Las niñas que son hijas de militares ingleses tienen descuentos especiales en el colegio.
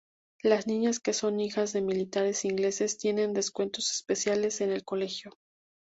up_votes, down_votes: 2, 0